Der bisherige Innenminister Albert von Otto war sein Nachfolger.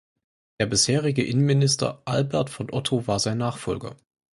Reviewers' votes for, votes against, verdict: 4, 0, accepted